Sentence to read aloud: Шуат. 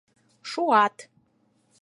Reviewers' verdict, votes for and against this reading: accepted, 4, 0